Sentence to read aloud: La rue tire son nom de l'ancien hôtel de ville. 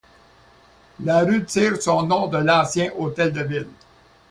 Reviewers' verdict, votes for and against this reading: accepted, 2, 0